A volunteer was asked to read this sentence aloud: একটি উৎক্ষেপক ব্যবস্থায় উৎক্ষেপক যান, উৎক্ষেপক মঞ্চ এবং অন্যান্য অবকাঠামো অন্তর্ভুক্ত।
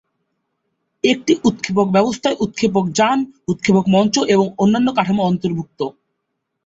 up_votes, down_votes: 0, 2